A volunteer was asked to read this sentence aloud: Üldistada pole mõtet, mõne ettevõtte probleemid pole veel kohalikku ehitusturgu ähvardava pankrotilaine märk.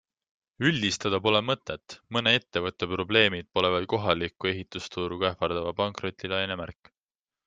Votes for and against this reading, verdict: 2, 0, accepted